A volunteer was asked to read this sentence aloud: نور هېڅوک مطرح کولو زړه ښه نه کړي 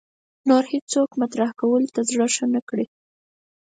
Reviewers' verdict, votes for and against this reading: accepted, 4, 0